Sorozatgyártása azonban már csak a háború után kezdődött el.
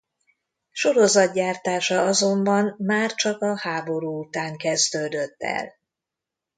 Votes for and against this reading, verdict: 2, 0, accepted